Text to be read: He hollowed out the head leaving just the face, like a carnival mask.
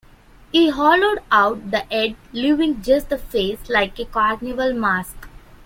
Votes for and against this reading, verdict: 2, 0, accepted